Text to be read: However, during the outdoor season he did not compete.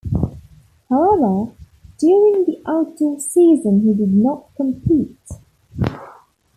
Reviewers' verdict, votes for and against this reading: rejected, 0, 2